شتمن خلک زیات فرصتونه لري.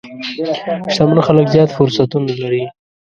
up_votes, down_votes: 1, 2